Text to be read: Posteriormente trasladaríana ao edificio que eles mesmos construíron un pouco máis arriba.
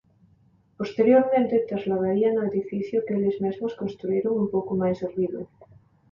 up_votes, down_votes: 2, 0